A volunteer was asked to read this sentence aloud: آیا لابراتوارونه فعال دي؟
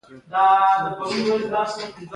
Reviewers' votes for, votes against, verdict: 1, 2, rejected